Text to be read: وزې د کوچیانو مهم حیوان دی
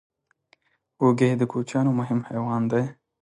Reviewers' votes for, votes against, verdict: 2, 0, accepted